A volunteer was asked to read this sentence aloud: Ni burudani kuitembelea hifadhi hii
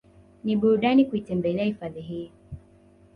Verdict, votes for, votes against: accepted, 2, 0